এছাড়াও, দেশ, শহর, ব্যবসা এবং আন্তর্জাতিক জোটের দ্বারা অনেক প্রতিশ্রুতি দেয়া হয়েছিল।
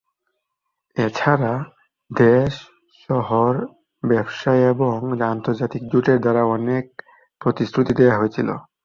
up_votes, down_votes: 1, 2